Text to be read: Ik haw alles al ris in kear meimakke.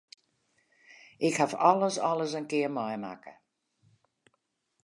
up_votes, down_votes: 0, 2